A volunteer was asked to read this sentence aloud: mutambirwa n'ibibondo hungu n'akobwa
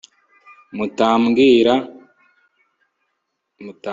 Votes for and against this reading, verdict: 1, 2, rejected